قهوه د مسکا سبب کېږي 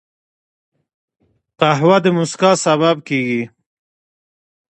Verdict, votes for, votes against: accepted, 2, 0